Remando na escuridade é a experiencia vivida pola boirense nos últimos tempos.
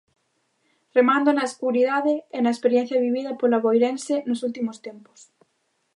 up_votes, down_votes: 0, 2